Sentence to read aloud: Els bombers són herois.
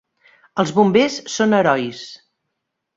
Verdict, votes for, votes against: accepted, 2, 0